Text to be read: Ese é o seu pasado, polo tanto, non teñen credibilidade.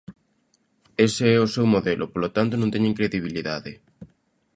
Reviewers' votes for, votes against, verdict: 0, 2, rejected